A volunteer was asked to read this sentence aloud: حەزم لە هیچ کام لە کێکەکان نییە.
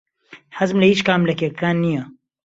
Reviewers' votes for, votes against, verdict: 2, 0, accepted